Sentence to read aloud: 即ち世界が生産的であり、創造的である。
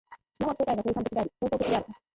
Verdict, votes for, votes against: rejected, 1, 4